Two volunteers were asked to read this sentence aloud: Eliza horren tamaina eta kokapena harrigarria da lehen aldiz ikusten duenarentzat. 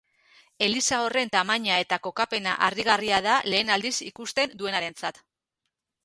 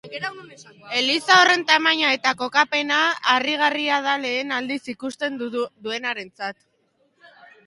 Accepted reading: first